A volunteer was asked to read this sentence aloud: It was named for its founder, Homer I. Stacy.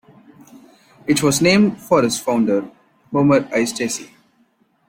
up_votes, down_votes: 2, 0